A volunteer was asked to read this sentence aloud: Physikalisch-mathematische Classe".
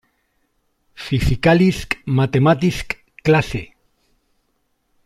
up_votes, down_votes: 0, 2